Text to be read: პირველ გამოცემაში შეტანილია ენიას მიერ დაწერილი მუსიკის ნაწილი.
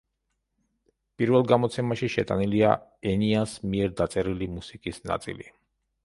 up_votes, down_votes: 2, 0